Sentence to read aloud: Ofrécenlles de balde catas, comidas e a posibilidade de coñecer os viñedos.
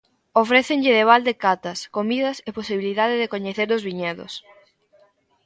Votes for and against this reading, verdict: 0, 3, rejected